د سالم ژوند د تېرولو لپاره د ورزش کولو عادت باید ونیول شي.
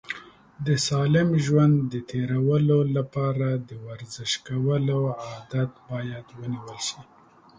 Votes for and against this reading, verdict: 2, 0, accepted